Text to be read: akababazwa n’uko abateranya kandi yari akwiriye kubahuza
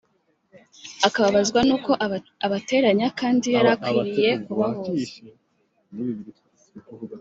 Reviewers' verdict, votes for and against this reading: rejected, 0, 2